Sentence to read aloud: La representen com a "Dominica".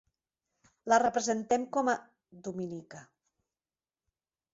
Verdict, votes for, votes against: rejected, 0, 2